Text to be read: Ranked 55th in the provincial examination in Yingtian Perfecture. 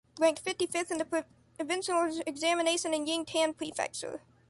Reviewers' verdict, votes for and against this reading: rejected, 0, 2